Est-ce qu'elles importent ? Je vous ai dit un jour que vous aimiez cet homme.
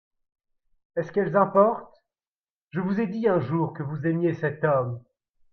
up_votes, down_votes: 2, 0